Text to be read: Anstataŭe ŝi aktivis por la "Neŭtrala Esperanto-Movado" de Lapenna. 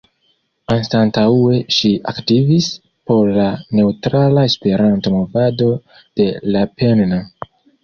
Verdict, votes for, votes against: rejected, 1, 2